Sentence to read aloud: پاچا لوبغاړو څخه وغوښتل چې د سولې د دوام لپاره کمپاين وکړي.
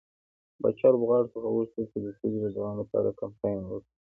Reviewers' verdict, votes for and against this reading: accepted, 2, 0